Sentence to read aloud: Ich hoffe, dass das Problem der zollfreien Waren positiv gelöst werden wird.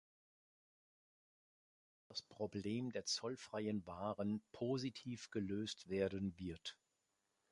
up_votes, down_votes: 0, 2